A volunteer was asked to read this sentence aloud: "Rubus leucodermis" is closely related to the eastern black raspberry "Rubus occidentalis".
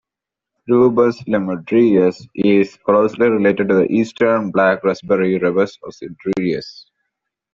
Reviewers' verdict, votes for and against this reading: rejected, 0, 2